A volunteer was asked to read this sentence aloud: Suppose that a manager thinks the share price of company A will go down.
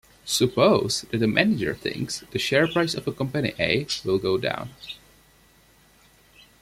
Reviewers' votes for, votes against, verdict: 2, 1, accepted